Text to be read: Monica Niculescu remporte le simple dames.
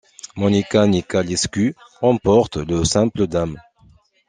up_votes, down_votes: 0, 2